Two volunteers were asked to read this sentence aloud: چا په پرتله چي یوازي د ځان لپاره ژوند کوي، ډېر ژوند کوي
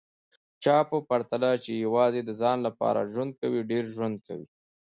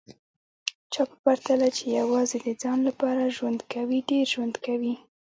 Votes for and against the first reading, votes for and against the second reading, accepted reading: 2, 1, 1, 2, first